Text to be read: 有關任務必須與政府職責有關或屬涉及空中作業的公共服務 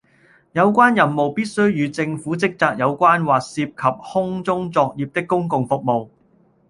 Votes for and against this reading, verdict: 1, 2, rejected